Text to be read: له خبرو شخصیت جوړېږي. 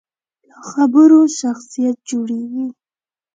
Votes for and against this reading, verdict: 2, 0, accepted